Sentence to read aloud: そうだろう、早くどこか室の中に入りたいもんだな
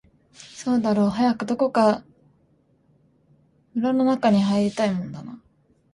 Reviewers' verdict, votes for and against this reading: rejected, 0, 2